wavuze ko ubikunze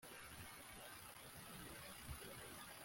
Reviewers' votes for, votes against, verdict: 0, 2, rejected